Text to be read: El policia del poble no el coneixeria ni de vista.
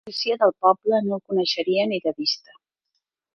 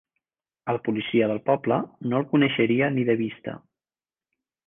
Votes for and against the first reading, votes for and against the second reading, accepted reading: 1, 2, 4, 0, second